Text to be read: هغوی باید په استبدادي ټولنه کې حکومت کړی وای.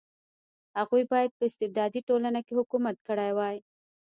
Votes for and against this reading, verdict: 2, 1, accepted